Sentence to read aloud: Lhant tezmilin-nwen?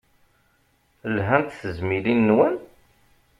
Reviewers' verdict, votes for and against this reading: accepted, 2, 0